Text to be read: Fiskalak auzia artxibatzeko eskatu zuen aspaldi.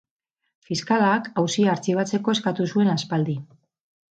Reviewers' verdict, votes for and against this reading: accepted, 8, 0